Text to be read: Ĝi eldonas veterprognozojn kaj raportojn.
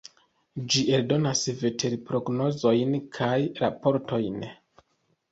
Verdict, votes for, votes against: accepted, 2, 0